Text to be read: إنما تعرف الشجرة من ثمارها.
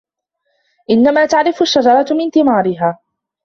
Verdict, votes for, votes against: rejected, 0, 2